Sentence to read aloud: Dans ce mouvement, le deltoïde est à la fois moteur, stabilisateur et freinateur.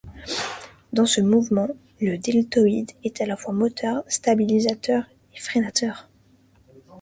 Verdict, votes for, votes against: accepted, 2, 0